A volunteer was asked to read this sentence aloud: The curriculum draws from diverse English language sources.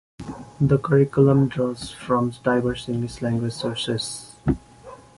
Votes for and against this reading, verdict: 2, 0, accepted